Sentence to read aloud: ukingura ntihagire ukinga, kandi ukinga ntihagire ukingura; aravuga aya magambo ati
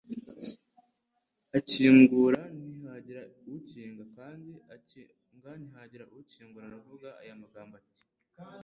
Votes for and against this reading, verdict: 1, 2, rejected